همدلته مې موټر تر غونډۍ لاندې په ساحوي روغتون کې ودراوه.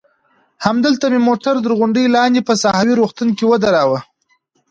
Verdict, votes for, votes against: accepted, 3, 0